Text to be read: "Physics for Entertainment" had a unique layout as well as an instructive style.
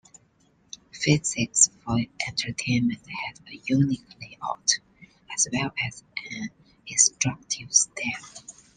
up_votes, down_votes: 2, 0